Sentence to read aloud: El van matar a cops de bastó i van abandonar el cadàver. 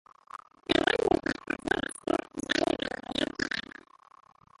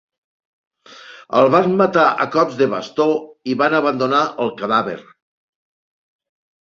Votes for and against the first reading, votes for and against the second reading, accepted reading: 2, 3, 3, 0, second